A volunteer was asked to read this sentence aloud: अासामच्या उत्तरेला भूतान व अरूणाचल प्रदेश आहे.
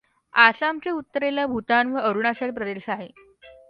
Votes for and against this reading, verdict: 2, 0, accepted